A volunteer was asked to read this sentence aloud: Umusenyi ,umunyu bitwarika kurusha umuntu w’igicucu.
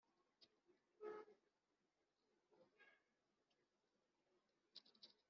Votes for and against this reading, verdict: 1, 3, rejected